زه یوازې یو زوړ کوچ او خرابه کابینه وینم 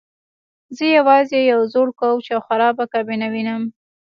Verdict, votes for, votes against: accepted, 2, 0